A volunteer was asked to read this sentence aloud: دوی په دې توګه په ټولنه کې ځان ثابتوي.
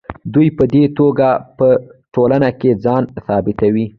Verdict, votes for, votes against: accepted, 2, 0